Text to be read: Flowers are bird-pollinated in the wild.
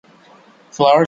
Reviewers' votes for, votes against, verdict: 0, 2, rejected